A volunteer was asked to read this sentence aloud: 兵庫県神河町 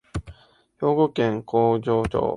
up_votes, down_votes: 1, 2